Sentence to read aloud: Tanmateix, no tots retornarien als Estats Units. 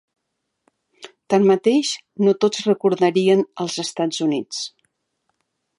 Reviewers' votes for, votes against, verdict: 3, 4, rejected